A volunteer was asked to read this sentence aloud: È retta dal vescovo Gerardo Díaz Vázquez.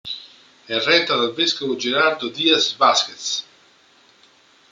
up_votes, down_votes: 3, 0